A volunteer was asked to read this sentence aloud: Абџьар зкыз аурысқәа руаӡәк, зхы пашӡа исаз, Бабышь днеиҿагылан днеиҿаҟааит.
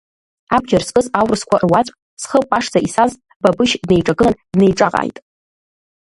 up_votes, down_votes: 1, 2